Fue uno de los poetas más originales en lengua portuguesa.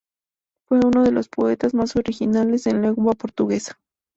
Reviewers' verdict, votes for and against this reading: rejected, 2, 2